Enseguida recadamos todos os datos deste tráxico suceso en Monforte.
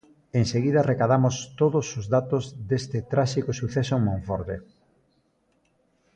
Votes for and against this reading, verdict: 2, 0, accepted